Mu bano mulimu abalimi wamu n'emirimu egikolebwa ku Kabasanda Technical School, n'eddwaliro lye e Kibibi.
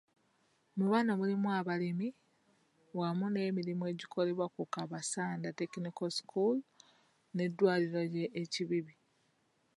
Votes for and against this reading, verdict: 2, 0, accepted